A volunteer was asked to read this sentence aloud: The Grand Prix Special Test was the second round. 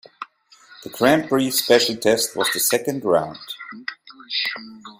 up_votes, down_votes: 2, 1